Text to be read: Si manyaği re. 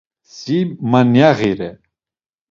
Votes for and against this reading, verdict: 2, 0, accepted